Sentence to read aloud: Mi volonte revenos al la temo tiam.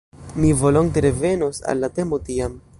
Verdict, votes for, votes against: accepted, 2, 0